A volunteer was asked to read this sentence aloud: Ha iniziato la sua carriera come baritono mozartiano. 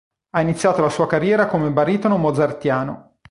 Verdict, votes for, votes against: accepted, 2, 0